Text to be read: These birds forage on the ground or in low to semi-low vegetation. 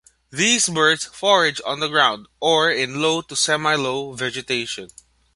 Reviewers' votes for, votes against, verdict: 3, 0, accepted